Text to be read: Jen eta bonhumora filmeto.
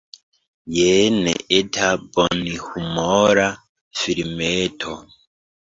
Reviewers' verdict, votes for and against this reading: rejected, 1, 2